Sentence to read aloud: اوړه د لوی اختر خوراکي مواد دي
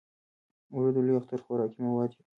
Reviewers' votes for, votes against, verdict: 3, 1, accepted